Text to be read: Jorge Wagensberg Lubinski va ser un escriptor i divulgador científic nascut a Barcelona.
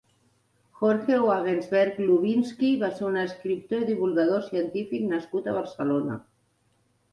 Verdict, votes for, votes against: accepted, 2, 0